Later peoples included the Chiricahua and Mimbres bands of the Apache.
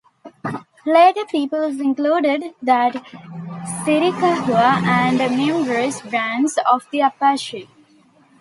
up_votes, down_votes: 1, 2